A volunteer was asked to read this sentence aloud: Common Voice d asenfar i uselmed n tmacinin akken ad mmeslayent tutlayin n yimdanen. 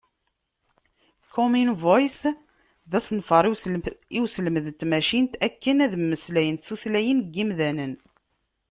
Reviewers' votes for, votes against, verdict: 0, 2, rejected